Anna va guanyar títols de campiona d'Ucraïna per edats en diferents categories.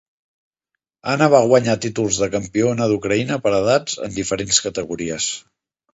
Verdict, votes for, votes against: accepted, 4, 0